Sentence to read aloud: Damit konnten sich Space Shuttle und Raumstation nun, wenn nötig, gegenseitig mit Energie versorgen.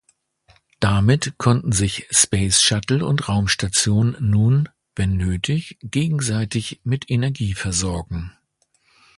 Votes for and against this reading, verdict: 2, 0, accepted